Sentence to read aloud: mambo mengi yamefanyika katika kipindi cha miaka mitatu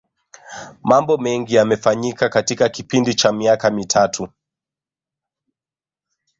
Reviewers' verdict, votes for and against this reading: rejected, 1, 2